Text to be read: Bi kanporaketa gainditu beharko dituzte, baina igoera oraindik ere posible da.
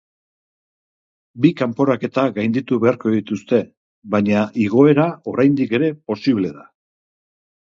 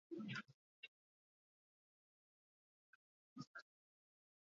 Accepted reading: first